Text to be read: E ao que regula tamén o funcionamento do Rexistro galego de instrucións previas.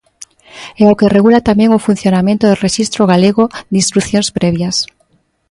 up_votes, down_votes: 2, 0